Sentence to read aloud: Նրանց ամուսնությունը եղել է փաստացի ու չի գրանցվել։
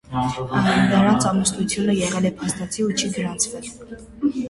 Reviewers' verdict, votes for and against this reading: rejected, 0, 2